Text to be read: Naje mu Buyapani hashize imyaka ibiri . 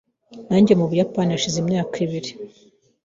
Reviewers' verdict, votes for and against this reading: rejected, 0, 2